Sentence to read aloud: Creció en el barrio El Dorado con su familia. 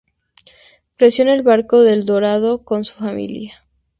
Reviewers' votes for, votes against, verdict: 0, 2, rejected